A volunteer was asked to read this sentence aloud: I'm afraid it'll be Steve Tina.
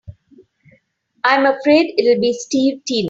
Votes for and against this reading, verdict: 2, 3, rejected